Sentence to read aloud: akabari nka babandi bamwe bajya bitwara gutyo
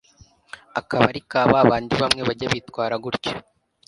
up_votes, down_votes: 0, 2